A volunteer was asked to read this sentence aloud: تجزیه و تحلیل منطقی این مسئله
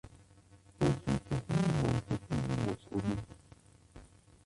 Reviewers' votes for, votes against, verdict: 0, 2, rejected